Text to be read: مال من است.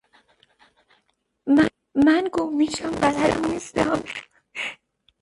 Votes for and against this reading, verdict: 1, 2, rejected